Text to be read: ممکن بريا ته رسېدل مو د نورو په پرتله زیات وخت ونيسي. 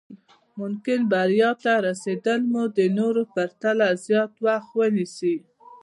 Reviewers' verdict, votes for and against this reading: rejected, 1, 2